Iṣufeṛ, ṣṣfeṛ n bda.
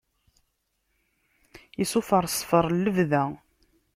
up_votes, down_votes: 2, 0